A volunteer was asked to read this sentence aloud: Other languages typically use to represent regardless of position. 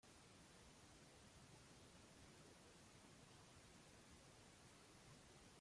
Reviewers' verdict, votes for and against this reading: rejected, 0, 2